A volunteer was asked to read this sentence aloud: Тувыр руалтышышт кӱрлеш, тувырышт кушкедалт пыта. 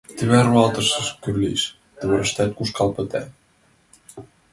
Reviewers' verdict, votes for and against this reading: rejected, 0, 2